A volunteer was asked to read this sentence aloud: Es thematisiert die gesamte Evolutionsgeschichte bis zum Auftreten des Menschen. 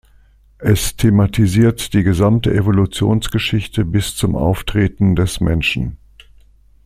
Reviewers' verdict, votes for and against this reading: accepted, 2, 0